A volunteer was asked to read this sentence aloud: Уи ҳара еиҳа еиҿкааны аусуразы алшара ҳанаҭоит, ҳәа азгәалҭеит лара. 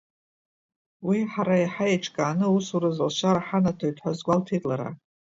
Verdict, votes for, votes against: rejected, 0, 2